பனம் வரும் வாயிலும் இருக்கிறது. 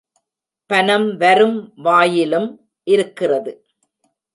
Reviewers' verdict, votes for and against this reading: rejected, 0, 2